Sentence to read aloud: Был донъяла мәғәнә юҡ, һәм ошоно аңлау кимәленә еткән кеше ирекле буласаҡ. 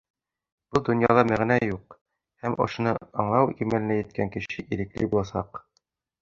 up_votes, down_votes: 2, 1